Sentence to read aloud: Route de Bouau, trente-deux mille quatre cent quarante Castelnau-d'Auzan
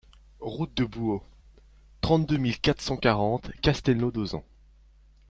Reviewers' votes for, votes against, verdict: 2, 0, accepted